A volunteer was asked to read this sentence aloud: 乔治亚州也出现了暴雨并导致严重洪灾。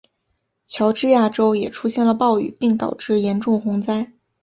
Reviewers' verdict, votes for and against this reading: accepted, 2, 0